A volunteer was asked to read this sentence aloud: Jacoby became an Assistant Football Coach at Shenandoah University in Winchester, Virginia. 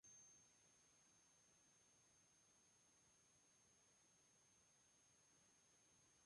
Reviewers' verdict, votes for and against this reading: rejected, 0, 2